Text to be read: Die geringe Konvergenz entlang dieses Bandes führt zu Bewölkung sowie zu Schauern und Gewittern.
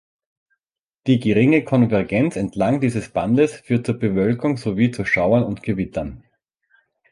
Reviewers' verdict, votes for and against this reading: accepted, 2, 0